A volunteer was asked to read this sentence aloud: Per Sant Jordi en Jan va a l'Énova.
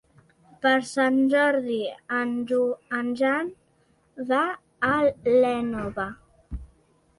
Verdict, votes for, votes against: rejected, 0, 2